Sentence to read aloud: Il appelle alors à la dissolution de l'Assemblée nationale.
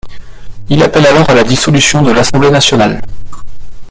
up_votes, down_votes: 0, 2